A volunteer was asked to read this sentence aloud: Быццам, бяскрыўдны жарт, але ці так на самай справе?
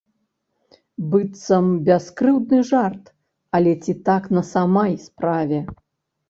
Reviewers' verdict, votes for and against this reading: rejected, 0, 3